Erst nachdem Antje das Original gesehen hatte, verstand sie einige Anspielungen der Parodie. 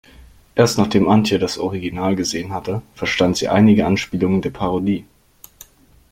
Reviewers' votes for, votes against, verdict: 2, 0, accepted